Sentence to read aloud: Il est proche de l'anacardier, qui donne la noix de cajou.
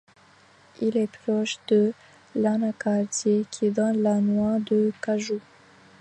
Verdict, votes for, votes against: accepted, 2, 0